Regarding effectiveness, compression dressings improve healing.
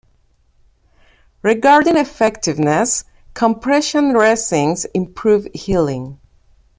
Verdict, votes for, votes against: rejected, 1, 2